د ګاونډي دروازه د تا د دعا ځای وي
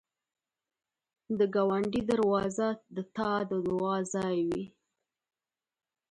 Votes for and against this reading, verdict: 2, 0, accepted